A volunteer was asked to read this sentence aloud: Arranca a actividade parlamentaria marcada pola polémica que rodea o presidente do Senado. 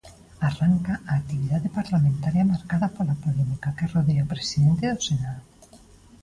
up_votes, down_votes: 2, 0